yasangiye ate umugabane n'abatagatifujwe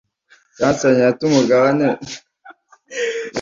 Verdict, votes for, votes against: rejected, 0, 2